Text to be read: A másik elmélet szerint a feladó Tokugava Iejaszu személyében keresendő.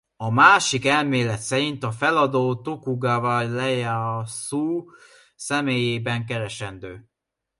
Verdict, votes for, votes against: rejected, 0, 2